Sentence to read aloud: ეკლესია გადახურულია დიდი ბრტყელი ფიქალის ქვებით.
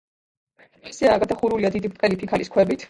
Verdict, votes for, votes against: rejected, 1, 2